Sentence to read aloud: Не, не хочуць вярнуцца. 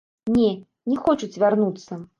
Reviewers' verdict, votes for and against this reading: accepted, 2, 0